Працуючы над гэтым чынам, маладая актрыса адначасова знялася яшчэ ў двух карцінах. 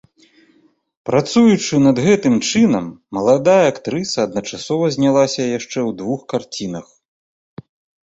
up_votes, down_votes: 1, 2